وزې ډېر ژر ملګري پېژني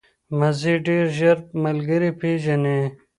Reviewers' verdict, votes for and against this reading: accepted, 2, 0